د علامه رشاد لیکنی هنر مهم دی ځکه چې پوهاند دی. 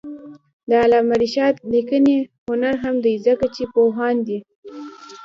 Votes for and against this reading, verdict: 1, 2, rejected